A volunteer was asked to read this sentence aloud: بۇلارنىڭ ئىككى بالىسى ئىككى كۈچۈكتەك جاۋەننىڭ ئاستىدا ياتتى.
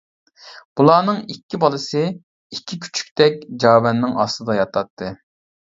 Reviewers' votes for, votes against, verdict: 2, 1, accepted